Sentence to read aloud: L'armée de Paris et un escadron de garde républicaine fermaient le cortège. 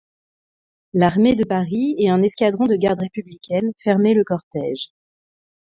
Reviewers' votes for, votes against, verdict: 2, 0, accepted